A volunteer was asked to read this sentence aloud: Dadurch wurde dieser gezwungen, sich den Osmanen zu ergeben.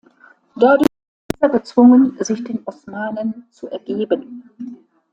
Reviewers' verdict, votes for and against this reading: rejected, 0, 2